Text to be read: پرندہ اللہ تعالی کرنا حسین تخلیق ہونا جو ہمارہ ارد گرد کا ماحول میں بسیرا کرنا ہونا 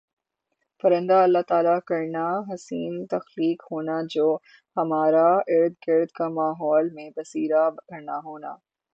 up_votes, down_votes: 3, 0